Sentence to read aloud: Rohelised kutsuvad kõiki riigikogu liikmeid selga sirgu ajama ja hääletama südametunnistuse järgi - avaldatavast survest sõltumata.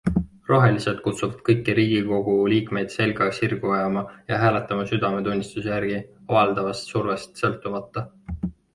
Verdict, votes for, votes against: accepted, 2, 1